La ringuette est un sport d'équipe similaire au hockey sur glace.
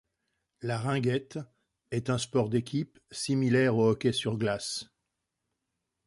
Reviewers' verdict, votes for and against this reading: accepted, 2, 0